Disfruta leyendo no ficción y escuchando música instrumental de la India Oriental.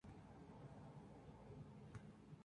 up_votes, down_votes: 0, 2